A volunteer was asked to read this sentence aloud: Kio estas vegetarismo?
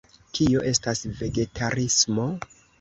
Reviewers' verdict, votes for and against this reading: accepted, 2, 0